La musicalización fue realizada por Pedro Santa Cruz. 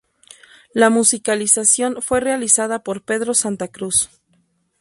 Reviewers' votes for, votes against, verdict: 2, 0, accepted